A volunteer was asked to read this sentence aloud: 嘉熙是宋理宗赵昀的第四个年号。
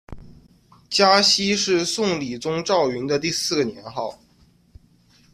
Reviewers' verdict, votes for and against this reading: accepted, 2, 0